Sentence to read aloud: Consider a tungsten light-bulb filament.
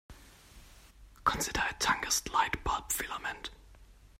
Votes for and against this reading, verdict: 1, 2, rejected